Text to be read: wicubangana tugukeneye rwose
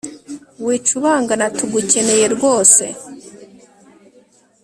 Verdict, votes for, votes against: accepted, 2, 1